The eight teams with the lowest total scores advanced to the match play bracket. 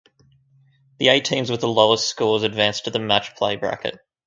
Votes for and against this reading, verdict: 0, 4, rejected